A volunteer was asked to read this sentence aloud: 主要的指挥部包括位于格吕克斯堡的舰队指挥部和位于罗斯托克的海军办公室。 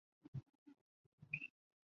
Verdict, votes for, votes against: rejected, 1, 2